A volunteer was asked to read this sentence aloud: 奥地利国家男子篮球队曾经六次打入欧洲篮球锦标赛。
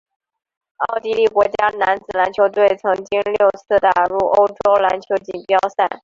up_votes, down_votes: 2, 0